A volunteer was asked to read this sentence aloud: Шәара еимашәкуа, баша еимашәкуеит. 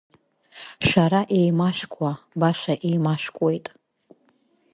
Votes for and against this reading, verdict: 2, 0, accepted